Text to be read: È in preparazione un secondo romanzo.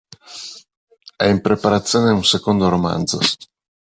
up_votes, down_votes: 2, 0